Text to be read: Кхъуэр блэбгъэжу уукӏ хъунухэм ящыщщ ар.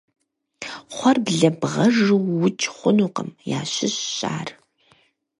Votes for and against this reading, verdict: 0, 4, rejected